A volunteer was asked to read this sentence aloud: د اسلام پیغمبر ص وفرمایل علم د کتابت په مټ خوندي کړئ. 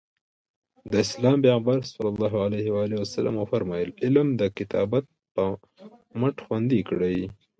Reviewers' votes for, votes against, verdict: 3, 0, accepted